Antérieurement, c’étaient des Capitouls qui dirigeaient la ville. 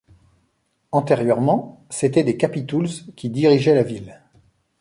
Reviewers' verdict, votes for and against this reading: rejected, 0, 2